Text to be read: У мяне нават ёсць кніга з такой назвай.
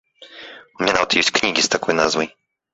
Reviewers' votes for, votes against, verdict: 0, 2, rejected